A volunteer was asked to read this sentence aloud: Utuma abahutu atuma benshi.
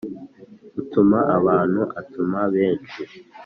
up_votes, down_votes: 1, 2